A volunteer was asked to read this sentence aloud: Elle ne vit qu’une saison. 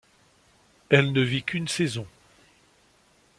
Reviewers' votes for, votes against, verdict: 2, 0, accepted